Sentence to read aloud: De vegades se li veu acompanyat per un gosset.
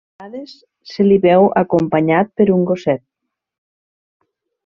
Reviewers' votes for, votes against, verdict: 0, 2, rejected